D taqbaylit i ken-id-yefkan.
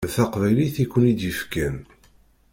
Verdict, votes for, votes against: rejected, 0, 2